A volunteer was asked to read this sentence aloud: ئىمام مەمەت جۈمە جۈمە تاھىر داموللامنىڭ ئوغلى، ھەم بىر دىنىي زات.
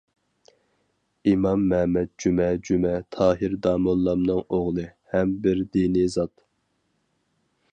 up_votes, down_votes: 4, 0